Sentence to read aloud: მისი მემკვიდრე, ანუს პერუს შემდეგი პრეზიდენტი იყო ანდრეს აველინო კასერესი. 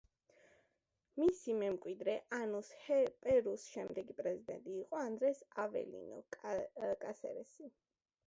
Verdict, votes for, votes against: rejected, 0, 2